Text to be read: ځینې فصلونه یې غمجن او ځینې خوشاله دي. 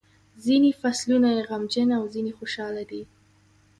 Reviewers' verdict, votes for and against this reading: accepted, 2, 0